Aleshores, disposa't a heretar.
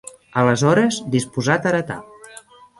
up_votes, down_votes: 0, 2